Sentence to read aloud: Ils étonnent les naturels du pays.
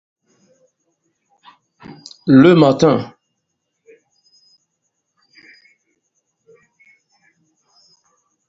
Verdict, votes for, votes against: rejected, 0, 2